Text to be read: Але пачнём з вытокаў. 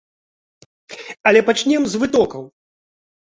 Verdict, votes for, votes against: rejected, 1, 2